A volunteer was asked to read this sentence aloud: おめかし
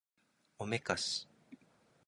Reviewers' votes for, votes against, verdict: 2, 0, accepted